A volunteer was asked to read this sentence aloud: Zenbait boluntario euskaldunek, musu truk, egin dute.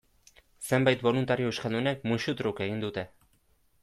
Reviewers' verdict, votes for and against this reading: accepted, 2, 0